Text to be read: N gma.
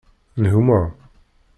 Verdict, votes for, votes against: rejected, 1, 2